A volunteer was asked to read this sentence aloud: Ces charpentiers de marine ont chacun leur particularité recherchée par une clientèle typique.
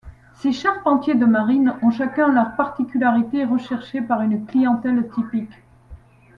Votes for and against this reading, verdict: 2, 0, accepted